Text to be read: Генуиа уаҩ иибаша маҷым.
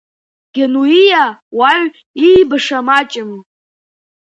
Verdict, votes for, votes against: accepted, 2, 0